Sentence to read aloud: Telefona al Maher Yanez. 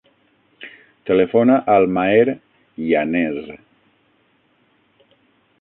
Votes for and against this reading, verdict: 0, 6, rejected